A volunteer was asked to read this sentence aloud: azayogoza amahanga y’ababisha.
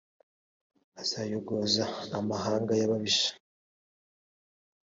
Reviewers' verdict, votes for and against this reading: accepted, 2, 0